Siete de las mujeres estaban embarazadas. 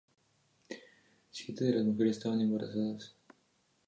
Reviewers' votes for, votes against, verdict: 2, 0, accepted